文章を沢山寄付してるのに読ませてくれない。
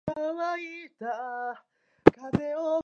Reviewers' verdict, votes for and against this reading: rejected, 2, 4